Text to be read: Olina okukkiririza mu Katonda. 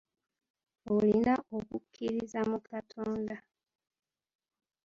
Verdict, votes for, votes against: rejected, 0, 2